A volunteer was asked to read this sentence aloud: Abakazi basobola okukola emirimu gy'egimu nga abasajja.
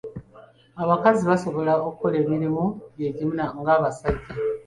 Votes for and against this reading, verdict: 2, 0, accepted